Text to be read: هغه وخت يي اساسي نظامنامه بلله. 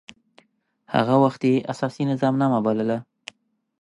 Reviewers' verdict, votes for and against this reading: accepted, 2, 0